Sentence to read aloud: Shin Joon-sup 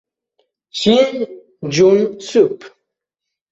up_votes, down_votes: 2, 1